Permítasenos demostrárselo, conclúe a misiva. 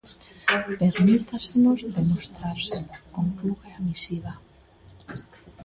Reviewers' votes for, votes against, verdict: 0, 2, rejected